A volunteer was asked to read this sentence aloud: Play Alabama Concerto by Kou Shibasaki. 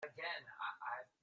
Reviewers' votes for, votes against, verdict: 0, 2, rejected